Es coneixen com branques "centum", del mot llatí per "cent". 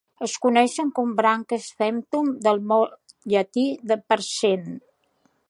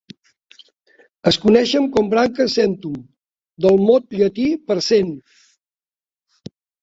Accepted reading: second